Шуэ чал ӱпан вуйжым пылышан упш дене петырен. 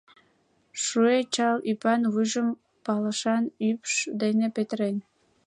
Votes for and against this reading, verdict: 2, 0, accepted